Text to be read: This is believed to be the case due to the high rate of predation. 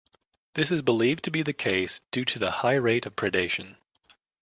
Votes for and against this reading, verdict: 2, 0, accepted